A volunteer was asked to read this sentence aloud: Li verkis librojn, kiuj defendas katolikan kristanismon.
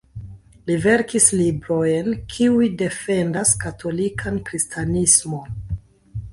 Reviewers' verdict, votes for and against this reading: accepted, 3, 2